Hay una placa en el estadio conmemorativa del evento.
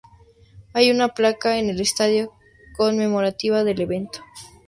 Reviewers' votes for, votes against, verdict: 8, 0, accepted